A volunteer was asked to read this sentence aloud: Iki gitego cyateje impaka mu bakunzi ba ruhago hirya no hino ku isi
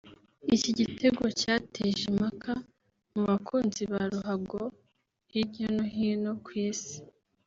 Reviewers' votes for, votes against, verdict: 1, 2, rejected